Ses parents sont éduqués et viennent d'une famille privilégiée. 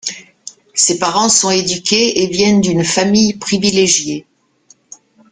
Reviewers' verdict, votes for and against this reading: accepted, 2, 0